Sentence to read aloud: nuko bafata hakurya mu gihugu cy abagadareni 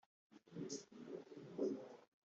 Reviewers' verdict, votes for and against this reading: rejected, 1, 3